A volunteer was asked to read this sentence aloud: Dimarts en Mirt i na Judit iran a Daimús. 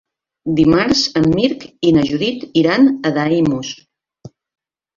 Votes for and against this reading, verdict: 1, 2, rejected